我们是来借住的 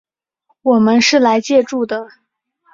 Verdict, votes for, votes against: accepted, 3, 0